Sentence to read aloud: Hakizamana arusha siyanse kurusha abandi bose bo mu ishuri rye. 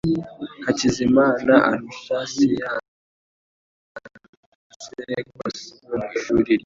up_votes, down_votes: 1, 2